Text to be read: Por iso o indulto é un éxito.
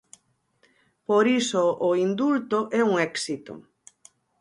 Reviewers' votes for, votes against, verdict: 4, 0, accepted